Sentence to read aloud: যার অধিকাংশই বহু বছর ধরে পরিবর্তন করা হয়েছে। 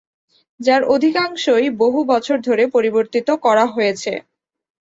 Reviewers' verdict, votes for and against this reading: rejected, 1, 2